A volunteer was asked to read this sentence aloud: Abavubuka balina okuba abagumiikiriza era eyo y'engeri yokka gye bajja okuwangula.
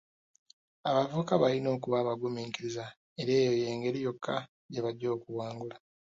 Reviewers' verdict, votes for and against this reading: accepted, 3, 0